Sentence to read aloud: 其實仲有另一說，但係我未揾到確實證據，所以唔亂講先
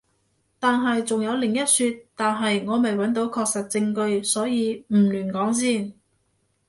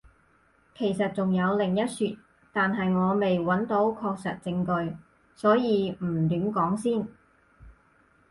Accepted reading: second